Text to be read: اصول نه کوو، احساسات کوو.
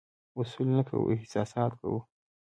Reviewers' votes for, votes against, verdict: 3, 0, accepted